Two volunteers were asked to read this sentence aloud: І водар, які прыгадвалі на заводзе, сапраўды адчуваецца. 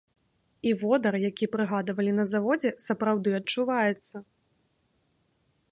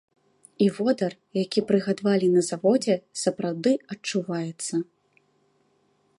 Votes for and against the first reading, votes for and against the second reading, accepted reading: 2, 0, 1, 2, first